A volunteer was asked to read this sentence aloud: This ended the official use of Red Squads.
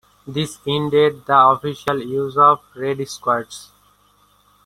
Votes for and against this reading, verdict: 2, 0, accepted